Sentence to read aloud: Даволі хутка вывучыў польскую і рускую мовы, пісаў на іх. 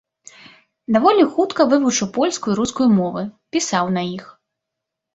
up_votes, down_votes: 2, 0